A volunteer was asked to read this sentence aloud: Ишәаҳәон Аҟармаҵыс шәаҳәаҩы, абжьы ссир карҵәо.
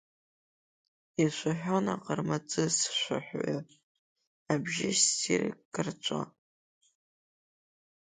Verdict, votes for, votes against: accepted, 2, 0